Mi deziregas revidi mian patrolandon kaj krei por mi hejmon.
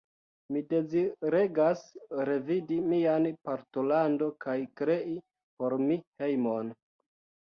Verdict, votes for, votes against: rejected, 1, 2